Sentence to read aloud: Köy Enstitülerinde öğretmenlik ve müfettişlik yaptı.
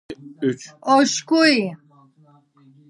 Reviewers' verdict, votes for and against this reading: rejected, 0, 2